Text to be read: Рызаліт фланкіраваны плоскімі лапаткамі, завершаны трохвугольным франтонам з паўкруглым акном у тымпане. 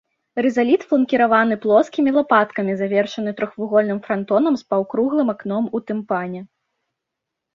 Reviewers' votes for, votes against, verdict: 2, 0, accepted